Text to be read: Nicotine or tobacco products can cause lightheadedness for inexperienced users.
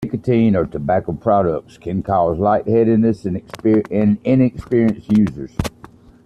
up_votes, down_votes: 2, 1